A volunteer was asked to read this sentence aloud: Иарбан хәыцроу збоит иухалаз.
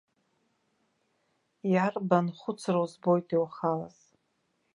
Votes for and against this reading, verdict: 1, 2, rejected